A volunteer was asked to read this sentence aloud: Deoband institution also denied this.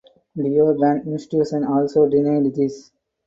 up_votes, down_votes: 2, 4